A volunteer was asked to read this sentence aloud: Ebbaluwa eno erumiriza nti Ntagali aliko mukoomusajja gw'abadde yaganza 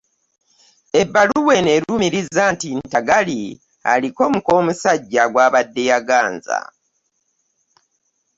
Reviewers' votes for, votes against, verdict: 2, 0, accepted